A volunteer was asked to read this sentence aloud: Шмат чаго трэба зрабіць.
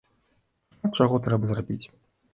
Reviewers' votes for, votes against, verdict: 0, 2, rejected